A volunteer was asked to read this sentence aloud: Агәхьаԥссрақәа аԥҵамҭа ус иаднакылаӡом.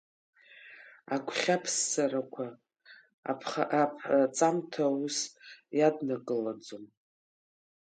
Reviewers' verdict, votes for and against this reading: rejected, 0, 3